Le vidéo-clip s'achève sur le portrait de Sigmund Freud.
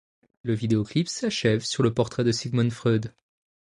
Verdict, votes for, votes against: accepted, 2, 0